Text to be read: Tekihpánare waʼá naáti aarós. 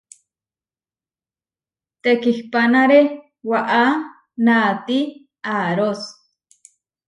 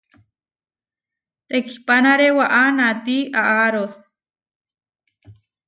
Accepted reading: first